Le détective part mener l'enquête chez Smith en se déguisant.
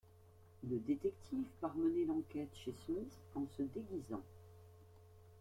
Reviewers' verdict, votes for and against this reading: rejected, 1, 3